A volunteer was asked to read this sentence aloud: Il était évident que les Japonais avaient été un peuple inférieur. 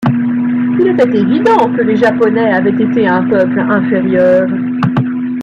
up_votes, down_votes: 1, 2